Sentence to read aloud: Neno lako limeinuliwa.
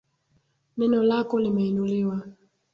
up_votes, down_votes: 2, 1